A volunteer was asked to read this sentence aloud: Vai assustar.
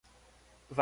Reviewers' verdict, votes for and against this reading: rejected, 0, 2